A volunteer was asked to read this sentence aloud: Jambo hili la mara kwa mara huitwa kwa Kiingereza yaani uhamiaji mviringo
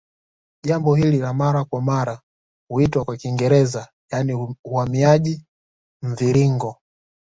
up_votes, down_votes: 2, 0